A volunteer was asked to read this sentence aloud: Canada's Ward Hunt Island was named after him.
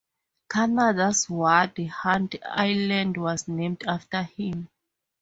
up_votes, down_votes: 4, 0